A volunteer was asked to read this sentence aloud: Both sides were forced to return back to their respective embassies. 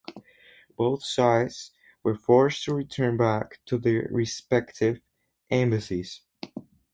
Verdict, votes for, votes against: rejected, 2, 2